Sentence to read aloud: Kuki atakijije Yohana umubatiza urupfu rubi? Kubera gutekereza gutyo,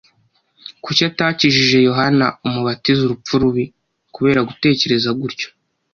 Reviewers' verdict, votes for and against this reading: accepted, 2, 0